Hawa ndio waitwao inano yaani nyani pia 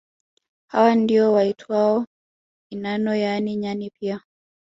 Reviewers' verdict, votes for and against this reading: rejected, 1, 2